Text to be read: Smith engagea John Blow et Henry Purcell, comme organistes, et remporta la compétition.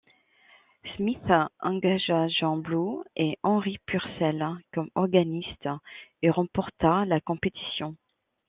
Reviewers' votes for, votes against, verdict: 2, 1, accepted